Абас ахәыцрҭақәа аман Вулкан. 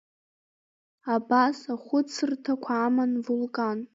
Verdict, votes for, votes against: accepted, 2, 0